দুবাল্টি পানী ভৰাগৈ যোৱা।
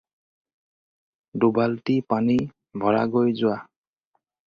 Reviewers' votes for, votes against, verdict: 4, 0, accepted